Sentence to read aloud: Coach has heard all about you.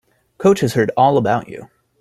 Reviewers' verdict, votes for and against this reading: accepted, 3, 0